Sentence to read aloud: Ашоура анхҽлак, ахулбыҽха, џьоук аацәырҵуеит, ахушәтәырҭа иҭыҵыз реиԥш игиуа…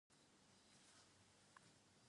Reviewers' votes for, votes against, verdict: 0, 2, rejected